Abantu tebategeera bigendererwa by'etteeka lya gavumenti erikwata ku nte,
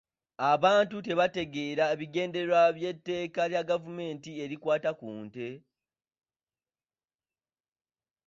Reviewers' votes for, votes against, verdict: 2, 0, accepted